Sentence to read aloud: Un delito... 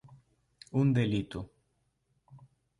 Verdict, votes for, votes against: accepted, 2, 0